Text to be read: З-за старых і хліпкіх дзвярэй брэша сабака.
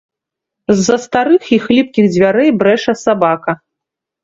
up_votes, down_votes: 2, 0